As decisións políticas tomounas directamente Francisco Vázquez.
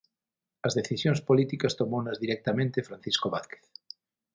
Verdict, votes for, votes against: accepted, 6, 0